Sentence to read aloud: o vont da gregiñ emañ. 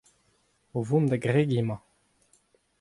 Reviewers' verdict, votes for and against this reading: accepted, 2, 0